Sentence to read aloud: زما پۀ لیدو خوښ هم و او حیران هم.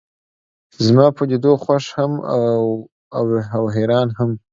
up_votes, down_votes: 2, 0